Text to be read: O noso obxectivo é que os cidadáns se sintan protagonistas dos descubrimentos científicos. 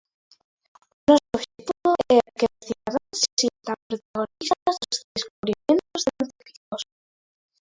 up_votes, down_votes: 0, 2